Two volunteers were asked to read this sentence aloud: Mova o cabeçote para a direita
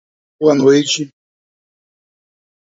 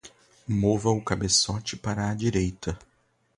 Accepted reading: second